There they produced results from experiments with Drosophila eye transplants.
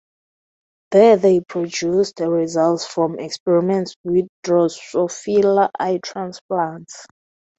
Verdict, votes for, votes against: accepted, 2, 0